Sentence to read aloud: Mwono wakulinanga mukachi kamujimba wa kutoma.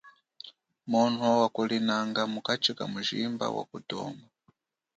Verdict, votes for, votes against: accepted, 2, 1